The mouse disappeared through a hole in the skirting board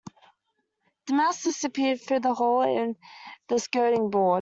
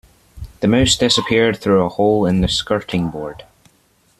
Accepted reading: second